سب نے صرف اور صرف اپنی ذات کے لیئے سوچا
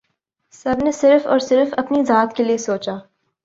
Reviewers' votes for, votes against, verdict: 2, 0, accepted